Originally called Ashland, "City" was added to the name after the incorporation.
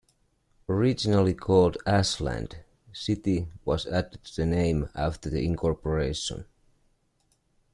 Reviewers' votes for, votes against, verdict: 1, 2, rejected